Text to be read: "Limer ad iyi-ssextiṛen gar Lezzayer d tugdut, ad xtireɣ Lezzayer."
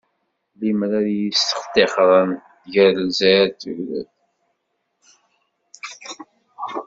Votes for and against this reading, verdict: 1, 2, rejected